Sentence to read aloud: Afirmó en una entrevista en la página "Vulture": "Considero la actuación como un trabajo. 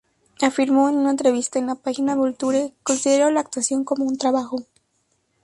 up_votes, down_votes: 2, 0